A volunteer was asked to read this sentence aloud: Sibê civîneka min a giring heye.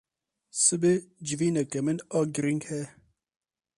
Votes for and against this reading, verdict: 0, 4, rejected